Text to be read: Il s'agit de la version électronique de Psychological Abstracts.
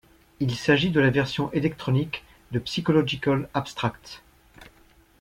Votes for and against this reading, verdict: 1, 2, rejected